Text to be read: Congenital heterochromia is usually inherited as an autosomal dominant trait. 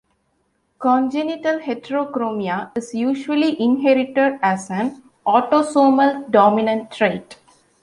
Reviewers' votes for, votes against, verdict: 2, 0, accepted